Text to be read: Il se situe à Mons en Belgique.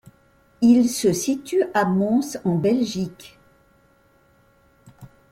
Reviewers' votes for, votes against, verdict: 2, 0, accepted